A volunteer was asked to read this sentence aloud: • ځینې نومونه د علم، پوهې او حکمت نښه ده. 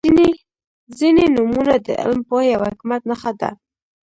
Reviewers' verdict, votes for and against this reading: rejected, 1, 2